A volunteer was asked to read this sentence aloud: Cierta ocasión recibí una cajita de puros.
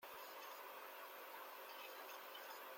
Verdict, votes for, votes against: rejected, 0, 2